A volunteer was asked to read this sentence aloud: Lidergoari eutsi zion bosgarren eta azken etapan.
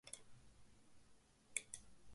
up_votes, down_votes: 0, 3